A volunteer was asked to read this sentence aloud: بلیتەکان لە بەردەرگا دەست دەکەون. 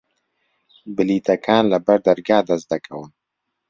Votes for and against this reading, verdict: 3, 0, accepted